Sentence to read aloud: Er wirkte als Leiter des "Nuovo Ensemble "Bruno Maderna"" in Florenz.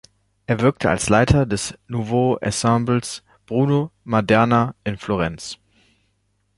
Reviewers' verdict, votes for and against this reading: accepted, 2, 1